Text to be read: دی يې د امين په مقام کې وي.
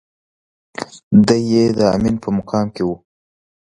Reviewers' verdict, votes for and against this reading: rejected, 1, 2